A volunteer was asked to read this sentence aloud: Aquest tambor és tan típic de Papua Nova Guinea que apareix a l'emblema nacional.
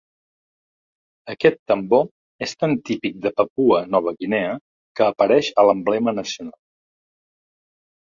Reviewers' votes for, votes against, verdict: 2, 0, accepted